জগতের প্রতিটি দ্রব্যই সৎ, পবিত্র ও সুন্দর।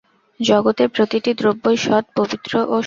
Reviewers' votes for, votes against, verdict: 0, 6, rejected